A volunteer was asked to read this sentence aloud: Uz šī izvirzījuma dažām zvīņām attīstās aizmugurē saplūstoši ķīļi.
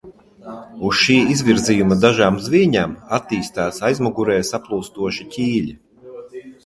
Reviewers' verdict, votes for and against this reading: accepted, 2, 0